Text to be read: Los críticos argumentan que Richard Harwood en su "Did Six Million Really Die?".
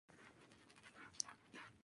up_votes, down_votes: 0, 2